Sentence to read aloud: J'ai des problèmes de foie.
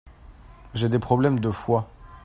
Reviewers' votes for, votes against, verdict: 2, 0, accepted